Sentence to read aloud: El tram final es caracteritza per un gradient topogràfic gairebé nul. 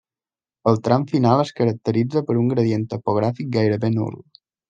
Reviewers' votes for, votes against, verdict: 2, 0, accepted